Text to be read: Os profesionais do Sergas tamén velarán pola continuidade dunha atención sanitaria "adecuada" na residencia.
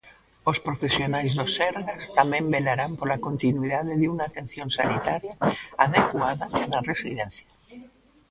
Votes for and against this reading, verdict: 1, 2, rejected